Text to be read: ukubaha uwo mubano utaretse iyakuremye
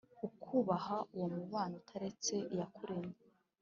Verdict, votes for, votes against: accepted, 2, 0